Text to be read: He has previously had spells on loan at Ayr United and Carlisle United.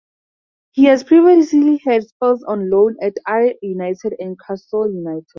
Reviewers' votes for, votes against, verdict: 2, 2, rejected